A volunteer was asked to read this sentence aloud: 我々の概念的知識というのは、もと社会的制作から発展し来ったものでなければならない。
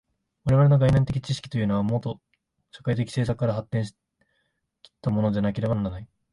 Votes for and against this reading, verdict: 0, 2, rejected